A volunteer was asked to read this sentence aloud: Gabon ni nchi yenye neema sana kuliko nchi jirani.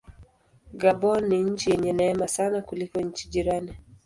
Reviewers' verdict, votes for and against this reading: accepted, 2, 0